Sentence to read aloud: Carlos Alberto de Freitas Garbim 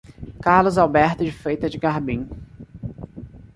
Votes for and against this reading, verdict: 1, 2, rejected